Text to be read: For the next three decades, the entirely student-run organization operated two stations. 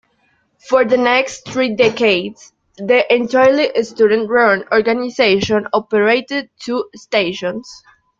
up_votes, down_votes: 2, 0